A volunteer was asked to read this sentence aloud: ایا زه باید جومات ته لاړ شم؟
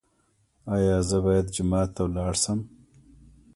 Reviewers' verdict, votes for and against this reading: rejected, 1, 2